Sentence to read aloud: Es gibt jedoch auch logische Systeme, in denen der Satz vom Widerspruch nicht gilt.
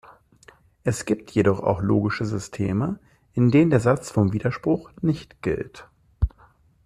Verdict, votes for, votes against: accepted, 2, 0